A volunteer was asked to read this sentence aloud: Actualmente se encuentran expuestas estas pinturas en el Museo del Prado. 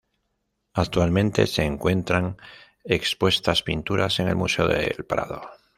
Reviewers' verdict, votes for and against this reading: rejected, 1, 2